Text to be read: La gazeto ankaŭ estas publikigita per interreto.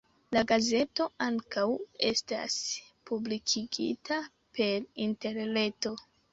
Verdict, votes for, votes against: rejected, 0, 2